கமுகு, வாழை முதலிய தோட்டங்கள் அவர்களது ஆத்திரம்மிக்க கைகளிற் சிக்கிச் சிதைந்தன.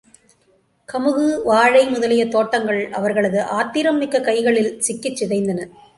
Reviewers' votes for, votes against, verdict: 2, 0, accepted